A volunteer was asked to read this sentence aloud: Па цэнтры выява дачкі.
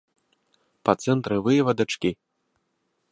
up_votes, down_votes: 0, 2